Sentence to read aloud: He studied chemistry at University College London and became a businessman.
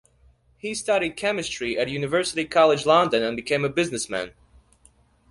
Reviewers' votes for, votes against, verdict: 2, 1, accepted